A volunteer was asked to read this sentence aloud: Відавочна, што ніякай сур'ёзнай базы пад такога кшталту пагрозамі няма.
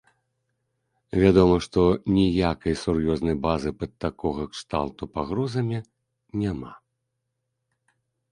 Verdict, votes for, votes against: rejected, 1, 2